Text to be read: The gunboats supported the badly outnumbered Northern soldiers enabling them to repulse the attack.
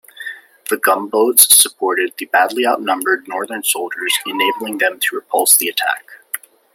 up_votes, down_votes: 2, 0